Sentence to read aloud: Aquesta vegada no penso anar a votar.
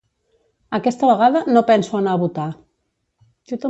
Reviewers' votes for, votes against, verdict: 1, 2, rejected